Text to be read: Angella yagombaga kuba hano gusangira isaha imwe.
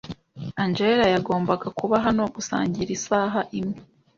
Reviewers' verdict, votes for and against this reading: accepted, 2, 0